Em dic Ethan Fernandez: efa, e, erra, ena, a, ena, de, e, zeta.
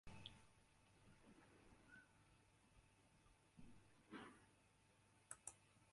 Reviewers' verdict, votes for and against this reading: rejected, 0, 2